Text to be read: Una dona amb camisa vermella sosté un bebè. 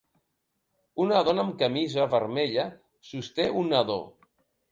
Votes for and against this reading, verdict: 0, 2, rejected